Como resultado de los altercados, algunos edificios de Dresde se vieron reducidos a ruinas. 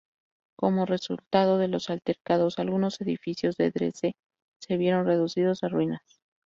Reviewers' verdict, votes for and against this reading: accepted, 2, 0